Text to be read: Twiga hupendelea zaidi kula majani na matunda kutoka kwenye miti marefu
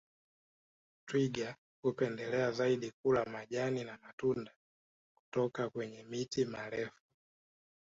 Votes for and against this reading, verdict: 1, 2, rejected